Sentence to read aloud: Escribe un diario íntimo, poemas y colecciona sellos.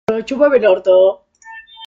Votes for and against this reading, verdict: 0, 2, rejected